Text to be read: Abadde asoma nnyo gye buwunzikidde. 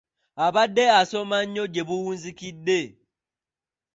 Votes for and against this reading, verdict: 2, 0, accepted